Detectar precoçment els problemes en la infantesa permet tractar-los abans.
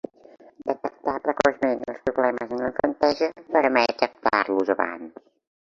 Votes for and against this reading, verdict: 0, 3, rejected